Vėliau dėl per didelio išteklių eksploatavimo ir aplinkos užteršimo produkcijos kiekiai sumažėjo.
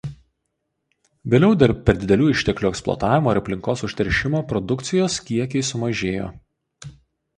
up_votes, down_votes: 0, 2